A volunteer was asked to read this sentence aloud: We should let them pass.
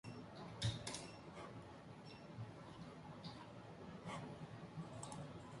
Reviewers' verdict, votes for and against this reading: rejected, 0, 2